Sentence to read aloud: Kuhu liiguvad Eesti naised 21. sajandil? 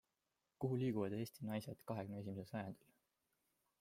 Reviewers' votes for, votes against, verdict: 0, 2, rejected